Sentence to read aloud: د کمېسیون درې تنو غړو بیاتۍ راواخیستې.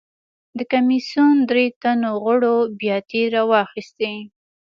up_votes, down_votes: 2, 0